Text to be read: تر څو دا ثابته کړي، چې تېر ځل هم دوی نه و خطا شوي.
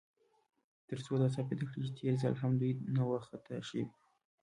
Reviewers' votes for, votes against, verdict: 2, 0, accepted